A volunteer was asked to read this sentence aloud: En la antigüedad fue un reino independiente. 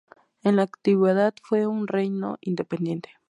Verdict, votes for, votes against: accepted, 4, 0